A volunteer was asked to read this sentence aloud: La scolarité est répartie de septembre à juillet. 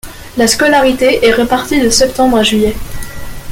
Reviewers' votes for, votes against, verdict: 0, 2, rejected